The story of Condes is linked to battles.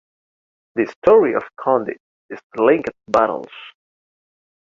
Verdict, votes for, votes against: rejected, 0, 3